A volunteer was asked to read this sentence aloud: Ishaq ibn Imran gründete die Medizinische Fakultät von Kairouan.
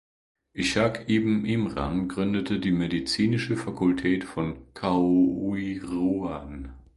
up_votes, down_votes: 1, 2